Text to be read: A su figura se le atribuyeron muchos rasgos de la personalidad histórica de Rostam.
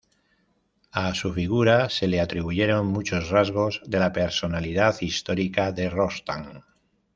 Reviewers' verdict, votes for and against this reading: rejected, 1, 2